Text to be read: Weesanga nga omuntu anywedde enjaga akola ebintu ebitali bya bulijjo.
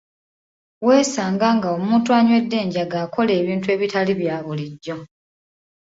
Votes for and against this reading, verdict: 2, 0, accepted